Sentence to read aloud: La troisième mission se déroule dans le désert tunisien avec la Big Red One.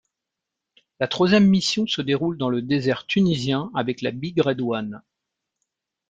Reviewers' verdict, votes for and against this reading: accepted, 2, 0